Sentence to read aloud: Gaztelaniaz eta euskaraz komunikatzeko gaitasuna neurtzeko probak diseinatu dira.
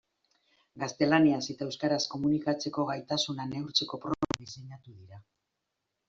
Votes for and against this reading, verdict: 0, 2, rejected